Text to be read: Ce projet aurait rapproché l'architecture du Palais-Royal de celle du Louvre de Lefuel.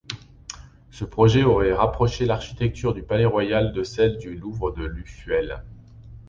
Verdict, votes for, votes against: rejected, 1, 2